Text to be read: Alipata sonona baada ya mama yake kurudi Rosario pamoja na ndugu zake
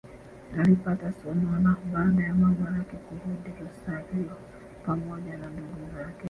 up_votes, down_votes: 0, 2